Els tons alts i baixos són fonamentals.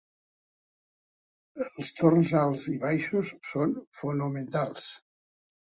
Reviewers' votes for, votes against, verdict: 0, 2, rejected